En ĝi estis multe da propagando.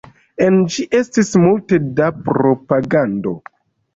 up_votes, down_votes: 2, 0